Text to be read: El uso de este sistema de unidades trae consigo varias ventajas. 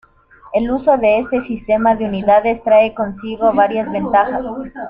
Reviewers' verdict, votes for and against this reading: accepted, 2, 1